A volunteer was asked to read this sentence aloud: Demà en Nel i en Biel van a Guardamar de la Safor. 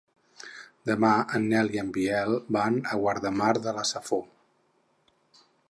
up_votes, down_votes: 6, 0